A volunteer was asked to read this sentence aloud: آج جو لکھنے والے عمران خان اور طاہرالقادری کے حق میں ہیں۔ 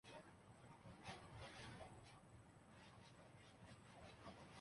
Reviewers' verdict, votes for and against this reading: rejected, 0, 3